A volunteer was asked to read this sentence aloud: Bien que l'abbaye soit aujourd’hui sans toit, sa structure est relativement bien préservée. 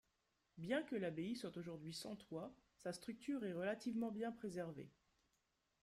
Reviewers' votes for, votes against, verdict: 2, 0, accepted